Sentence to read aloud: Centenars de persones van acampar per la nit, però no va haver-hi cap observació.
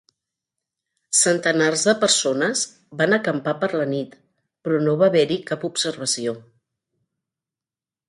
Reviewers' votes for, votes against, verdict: 3, 0, accepted